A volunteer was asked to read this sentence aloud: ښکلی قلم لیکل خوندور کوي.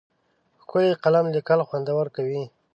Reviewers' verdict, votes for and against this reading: accepted, 2, 0